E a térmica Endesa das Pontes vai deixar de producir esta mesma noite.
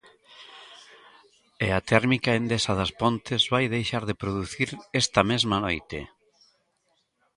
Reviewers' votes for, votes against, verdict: 1, 2, rejected